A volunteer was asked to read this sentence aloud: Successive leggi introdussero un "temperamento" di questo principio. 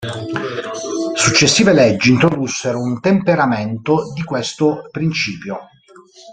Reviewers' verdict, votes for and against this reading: rejected, 1, 2